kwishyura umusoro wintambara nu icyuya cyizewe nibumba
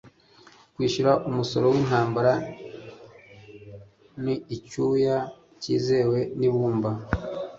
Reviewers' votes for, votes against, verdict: 2, 0, accepted